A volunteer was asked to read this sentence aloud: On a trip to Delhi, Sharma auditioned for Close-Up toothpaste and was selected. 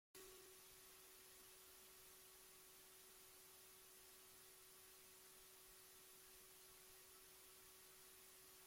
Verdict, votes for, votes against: rejected, 0, 2